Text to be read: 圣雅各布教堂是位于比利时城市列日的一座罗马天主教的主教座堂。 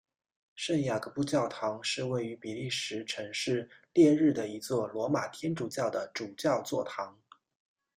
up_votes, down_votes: 2, 0